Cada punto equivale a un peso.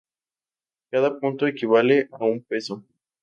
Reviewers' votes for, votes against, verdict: 2, 0, accepted